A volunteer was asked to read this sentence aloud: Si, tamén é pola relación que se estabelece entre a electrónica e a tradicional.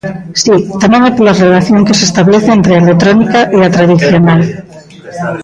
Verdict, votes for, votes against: rejected, 0, 2